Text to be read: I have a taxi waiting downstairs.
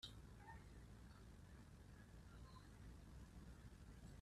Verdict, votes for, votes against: rejected, 0, 2